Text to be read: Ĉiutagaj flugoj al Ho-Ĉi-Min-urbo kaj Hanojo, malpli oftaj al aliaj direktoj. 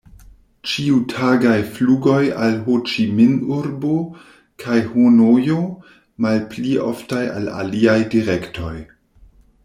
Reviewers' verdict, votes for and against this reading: rejected, 1, 2